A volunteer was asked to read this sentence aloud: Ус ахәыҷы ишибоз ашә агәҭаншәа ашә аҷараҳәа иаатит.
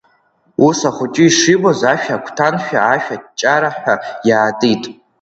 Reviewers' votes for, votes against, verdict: 2, 0, accepted